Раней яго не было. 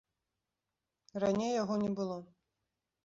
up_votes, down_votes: 2, 0